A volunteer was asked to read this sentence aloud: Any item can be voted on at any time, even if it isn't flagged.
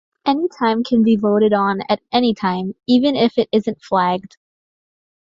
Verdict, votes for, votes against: rejected, 0, 2